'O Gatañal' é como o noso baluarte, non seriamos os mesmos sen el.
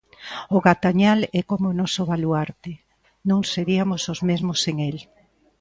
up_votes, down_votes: 0, 2